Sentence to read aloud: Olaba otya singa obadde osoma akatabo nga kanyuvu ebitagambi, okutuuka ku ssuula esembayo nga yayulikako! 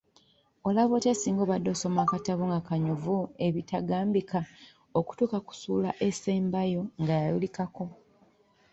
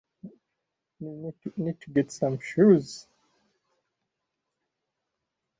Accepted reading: first